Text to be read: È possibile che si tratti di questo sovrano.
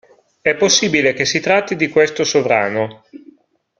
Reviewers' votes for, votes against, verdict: 2, 0, accepted